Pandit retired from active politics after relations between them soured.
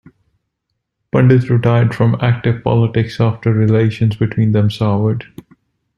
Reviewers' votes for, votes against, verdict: 2, 0, accepted